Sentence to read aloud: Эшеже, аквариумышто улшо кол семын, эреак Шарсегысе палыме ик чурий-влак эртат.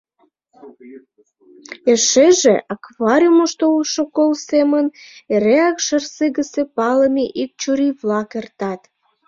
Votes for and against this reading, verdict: 2, 0, accepted